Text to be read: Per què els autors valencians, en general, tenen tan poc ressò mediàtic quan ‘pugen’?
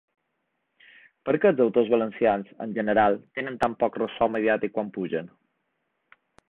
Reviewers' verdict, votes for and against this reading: accepted, 2, 0